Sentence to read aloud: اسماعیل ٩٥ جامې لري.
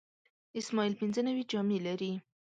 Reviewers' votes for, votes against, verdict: 0, 2, rejected